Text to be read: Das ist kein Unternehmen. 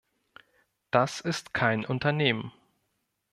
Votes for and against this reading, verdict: 2, 0, accepted